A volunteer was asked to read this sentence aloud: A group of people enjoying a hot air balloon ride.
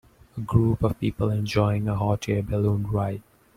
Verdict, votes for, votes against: accepted, 2, 0